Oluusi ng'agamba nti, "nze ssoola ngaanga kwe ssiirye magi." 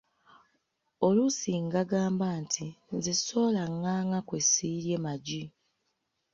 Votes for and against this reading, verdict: 0, 2, rejected